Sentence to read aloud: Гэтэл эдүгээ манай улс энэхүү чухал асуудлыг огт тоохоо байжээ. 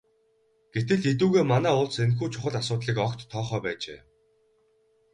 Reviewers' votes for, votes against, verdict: 2, 2, rejected